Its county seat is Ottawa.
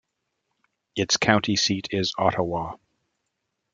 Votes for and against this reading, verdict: 2, 0, accepted